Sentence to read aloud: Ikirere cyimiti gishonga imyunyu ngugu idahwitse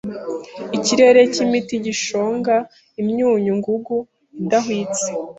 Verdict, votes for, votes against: accepted, 2, 0